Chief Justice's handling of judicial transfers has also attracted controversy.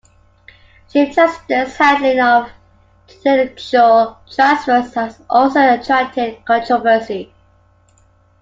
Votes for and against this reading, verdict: 2, 0, accepted